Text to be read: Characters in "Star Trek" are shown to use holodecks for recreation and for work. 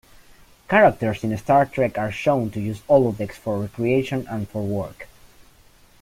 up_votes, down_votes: 3, 1